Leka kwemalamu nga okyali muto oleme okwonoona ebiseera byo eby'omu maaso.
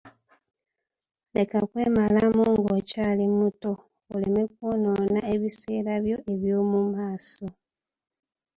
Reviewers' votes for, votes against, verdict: 1, 2, rejected